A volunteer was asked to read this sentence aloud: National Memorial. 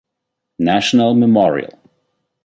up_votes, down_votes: 2, 0